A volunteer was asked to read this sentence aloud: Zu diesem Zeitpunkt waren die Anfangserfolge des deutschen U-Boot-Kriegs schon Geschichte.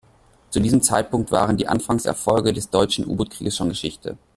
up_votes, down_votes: 1, 2